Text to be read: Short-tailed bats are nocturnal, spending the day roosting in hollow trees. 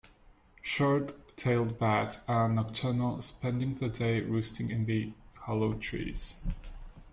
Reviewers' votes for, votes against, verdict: 1, 2, rejected